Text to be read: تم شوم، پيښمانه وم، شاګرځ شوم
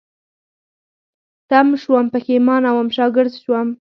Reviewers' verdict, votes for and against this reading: accepted, 4, 0